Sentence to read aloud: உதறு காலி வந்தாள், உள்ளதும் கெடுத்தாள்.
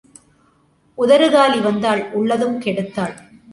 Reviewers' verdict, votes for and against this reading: accepted, 2, 0